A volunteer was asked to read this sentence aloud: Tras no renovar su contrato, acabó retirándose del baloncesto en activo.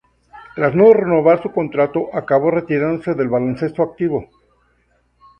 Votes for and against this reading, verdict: 0, 2, rejected